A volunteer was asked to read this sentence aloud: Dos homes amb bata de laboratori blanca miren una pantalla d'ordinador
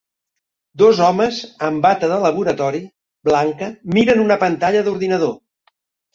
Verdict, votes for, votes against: accepted, 2, 0